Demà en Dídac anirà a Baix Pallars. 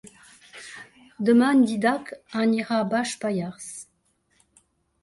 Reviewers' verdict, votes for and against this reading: accepted, 2, 1